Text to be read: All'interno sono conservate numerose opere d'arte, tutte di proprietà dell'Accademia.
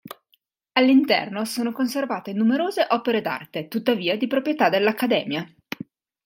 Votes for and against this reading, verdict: 1, 3, rejected